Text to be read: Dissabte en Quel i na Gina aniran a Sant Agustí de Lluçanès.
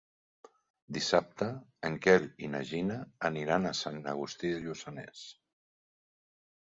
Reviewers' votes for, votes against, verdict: 1, 2, rejected